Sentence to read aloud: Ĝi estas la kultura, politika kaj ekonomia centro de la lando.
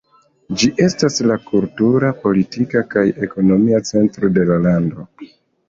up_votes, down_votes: 2, 1